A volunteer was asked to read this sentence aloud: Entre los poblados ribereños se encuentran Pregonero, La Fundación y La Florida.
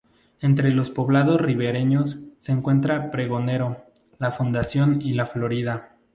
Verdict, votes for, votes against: rejected, 0, 2